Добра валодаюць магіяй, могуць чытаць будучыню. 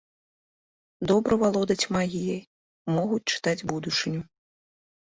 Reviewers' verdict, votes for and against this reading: rejected, 1, 2